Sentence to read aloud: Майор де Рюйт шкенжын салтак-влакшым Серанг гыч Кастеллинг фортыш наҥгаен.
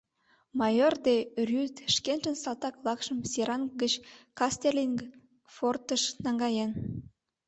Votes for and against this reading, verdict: 2, 0, accepted